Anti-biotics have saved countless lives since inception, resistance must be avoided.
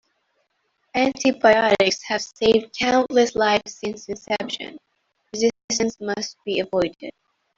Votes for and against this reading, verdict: 0, 2, rejected